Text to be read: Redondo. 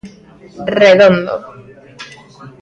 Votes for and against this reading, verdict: 2, 1, accepted